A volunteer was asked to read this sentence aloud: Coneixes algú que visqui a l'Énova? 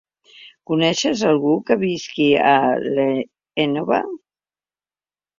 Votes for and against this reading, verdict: 1, 2, rejected